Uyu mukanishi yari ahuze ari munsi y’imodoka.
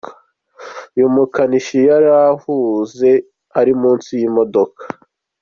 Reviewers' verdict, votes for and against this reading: accepted, 2, 0